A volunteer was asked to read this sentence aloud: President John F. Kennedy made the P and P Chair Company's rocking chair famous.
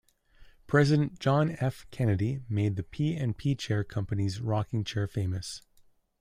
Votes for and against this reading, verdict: 2, 0, accepted